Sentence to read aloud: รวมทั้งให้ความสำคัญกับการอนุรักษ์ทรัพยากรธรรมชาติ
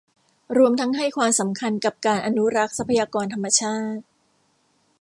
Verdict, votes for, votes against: rejected, 0, 2